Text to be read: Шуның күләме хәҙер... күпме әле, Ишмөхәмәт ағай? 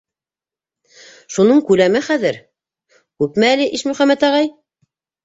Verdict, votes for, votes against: accepted, 2, 0